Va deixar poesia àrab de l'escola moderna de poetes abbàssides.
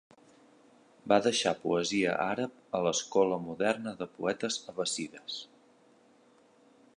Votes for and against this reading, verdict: 1, 2, rejected